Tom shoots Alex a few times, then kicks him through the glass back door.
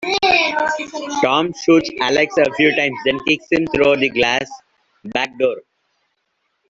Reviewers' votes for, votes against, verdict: 2, 1, accepted